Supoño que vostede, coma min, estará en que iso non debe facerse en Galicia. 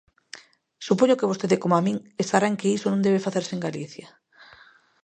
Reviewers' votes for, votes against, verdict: 0, 2, rejected